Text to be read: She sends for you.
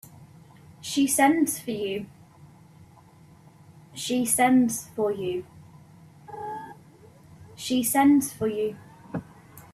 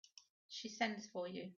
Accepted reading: second